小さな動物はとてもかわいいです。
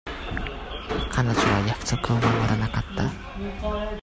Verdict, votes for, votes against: rejected, 0, 2